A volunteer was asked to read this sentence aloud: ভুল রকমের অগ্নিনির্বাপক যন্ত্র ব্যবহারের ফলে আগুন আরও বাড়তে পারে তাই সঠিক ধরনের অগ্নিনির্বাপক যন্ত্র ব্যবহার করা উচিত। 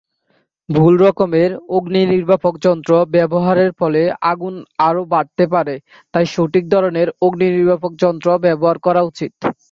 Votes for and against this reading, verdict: 2, 0, accepted